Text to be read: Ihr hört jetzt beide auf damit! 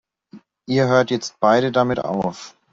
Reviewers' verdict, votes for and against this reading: rejected, 0, 2